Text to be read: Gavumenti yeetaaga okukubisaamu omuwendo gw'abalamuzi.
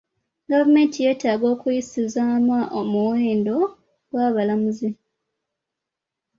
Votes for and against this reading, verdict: 1, 2, rejected